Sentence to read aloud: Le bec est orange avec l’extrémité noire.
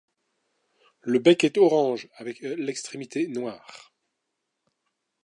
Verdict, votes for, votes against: rejected, 1, 2